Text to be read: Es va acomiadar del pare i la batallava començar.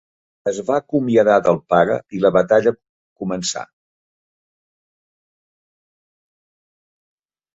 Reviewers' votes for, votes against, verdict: 2, 4, rejected